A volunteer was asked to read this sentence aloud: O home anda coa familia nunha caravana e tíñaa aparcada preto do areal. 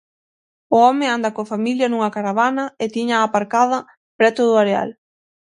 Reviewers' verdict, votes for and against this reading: accepted, 6, 0